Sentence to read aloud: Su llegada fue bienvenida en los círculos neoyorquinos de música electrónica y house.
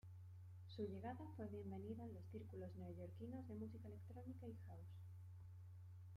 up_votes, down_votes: 1, 2